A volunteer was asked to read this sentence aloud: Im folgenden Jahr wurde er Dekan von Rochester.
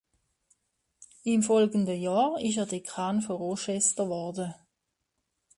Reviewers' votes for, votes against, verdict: 0, 2, rejected